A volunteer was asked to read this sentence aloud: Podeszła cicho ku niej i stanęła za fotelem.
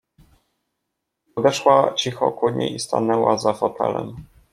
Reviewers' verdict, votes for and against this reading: accepted, 2, 0